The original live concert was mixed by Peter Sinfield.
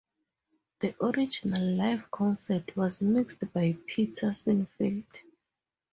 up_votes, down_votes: 2, 0